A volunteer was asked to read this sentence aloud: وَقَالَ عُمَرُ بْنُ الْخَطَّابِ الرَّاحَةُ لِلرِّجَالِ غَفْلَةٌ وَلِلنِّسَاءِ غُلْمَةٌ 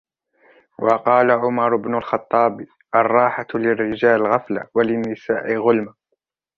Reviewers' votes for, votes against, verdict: 1, 2, rejected